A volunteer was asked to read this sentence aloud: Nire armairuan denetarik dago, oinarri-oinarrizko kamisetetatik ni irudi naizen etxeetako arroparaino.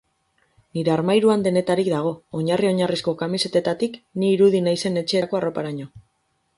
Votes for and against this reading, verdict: 0, 4, rejected